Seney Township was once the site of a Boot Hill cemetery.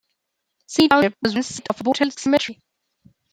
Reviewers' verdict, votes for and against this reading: rejected, 1, 2